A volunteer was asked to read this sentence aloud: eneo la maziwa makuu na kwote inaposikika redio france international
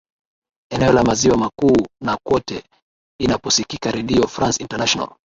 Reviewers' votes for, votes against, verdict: 6, 1, accepted